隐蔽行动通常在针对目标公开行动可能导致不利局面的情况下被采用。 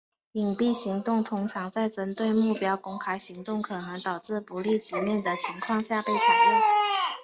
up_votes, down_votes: 4, 1